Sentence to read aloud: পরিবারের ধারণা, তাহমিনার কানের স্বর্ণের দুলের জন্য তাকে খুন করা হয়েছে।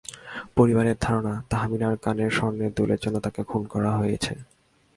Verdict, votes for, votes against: accepted, 2, 0